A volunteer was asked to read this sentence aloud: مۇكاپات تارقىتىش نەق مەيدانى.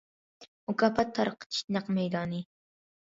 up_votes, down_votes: 2, 0